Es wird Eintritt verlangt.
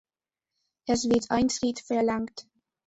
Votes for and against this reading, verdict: 2, 0, accepted